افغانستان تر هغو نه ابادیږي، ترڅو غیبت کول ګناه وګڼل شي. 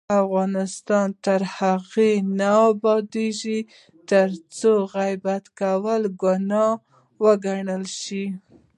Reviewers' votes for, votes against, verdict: 1, 2, rejected